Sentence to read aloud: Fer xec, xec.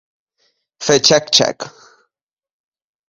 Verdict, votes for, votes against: accepted, 3, 0